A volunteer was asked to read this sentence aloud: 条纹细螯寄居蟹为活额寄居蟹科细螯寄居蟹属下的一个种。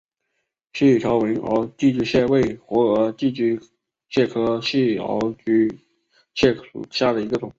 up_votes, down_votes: 3, 2